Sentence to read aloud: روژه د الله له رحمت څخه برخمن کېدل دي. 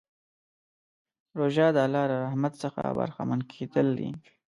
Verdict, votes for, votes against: rejected, 0, 2